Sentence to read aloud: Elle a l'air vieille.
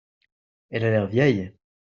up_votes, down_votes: 2, 0